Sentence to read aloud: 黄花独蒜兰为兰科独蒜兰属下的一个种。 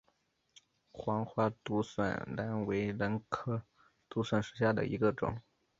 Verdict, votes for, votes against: rejected, 0, 3